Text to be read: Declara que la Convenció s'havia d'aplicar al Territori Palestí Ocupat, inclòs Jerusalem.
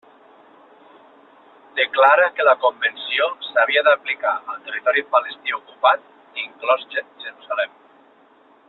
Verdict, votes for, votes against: rejected, 0, 2